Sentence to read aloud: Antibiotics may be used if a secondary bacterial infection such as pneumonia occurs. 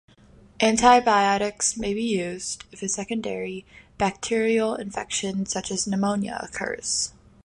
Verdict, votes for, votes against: accepted, 2, 0